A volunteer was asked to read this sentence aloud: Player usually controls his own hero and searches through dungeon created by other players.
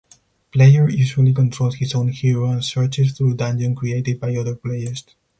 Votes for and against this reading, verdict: 4, 0, accepted